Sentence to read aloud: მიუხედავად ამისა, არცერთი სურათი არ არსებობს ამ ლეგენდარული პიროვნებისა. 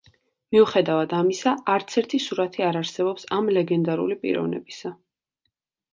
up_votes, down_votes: 2, 0